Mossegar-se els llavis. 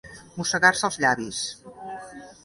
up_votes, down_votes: 2, 0